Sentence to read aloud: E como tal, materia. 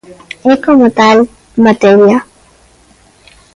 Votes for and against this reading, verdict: 2, 1, accepted